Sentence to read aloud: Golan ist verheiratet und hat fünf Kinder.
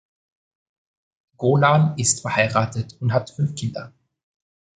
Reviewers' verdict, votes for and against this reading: accepted, 2, 0